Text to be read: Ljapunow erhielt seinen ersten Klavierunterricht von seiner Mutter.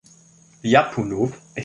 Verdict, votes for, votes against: rejected, 0, 2